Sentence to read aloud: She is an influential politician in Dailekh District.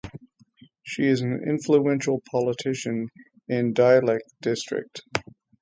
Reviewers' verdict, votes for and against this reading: rejected, 3, 3